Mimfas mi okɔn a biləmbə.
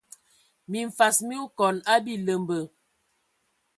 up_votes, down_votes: 2, 0